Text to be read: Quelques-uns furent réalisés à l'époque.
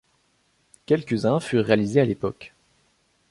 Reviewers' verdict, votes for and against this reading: accepted, 2, 0